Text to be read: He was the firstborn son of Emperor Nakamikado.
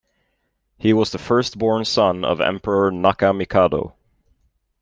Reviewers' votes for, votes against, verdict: 3, 0, accepted